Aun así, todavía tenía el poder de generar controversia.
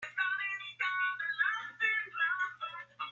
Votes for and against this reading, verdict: 0, 2, rejected